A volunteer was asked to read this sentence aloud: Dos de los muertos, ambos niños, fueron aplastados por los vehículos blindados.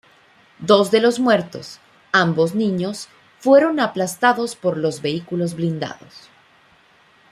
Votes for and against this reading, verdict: 2, 0, accepted